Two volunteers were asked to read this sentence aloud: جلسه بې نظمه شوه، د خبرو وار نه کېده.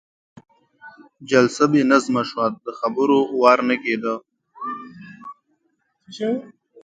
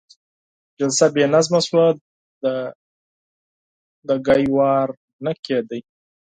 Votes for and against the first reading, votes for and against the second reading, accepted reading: 2, 1, 0, 6, first